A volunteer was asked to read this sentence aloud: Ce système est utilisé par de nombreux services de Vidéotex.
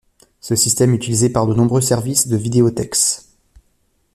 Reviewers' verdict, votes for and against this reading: rejected, 1, 2